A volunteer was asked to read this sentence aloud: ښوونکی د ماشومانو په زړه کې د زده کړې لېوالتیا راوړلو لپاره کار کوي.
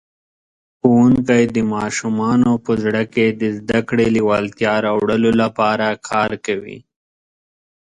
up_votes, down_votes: 2, 0